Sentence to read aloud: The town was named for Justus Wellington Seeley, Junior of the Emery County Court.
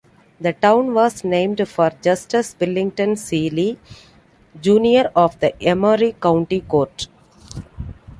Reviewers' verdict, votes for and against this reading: accepted, 2, 0